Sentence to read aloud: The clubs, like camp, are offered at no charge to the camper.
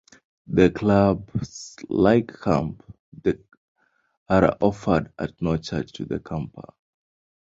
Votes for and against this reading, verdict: 2, 0, accepted